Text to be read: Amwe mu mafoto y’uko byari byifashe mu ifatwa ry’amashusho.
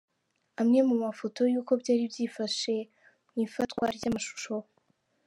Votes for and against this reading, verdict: 2, 0, accepted